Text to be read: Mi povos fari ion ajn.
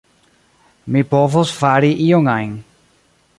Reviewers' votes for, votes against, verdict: 1, 2, rejected